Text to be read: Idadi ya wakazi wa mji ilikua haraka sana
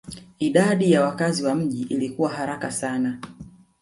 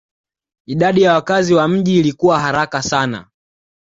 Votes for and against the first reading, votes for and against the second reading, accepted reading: 1, 2, 2, 0, second